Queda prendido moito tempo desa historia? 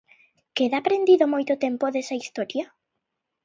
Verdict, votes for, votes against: accepted, 2, 0